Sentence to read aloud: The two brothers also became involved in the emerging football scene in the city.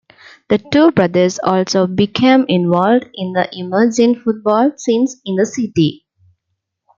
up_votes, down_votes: 0, 2